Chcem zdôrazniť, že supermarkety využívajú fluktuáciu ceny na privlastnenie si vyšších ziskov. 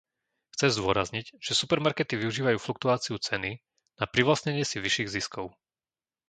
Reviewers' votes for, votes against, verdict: 0, 2, rejected